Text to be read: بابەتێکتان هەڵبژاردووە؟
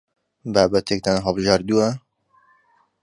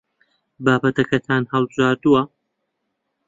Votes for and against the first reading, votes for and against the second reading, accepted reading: 2, 0, 0, 2, first